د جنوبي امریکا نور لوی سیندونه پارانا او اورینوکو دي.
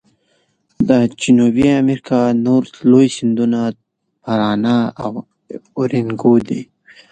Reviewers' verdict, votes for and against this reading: accepted, 2, 0